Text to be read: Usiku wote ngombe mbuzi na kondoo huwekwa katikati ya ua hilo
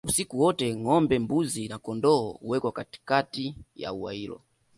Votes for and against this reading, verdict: 2, 1, accepted